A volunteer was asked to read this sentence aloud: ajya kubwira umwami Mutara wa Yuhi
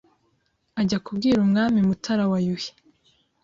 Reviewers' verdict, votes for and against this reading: accepted, 2, 0